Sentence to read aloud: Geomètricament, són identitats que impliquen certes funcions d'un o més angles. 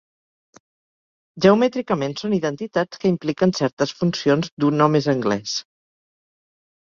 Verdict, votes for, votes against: accepted, 2, 1